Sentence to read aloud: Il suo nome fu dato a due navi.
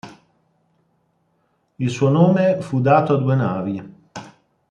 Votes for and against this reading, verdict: 2, 0, accepted